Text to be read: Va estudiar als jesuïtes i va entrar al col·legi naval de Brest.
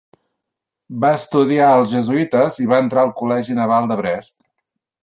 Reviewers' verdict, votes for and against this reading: accepted, 3, 0